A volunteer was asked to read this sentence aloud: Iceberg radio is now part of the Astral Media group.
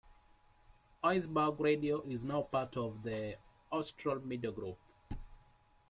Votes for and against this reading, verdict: 0, 2, rejected